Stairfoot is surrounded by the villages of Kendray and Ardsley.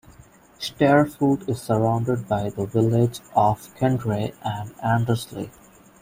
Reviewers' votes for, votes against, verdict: 1, 2, rejected